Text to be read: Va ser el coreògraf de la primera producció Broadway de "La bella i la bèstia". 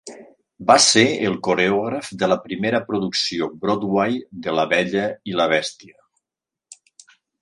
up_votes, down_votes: 3, 0